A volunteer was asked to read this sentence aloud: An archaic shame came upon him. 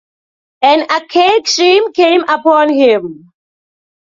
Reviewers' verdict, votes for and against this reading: accepted, 2, 0